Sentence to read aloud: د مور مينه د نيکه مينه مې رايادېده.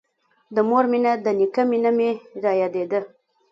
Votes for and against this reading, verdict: 2, 0, accepted